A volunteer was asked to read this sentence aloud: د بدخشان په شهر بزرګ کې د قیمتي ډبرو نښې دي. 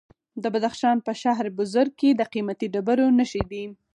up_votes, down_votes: 4, 0